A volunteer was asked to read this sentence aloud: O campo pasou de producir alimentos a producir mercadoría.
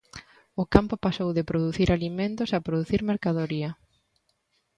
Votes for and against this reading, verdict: 2, 0, accepted